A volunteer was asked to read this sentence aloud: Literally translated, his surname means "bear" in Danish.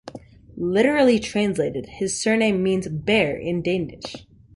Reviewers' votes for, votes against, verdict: 2, 0, accepted